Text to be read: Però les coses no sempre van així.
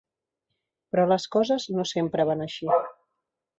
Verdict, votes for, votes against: rejected, 1, 2